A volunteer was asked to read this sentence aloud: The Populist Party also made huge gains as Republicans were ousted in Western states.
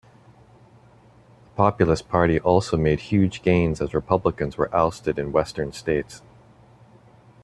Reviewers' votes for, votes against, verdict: 2, 0, accepted